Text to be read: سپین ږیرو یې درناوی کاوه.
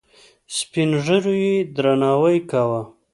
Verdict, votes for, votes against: accepted, 2, 0